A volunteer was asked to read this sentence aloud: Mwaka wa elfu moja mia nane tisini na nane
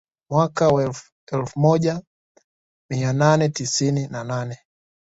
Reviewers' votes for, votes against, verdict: 1, 2, rejected